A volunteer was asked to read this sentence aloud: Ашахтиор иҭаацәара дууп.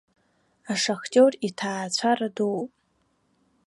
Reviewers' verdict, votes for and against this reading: accepted, 2, 0